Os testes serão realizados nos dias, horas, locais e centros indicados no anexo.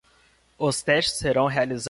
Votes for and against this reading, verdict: 0, 2, rejected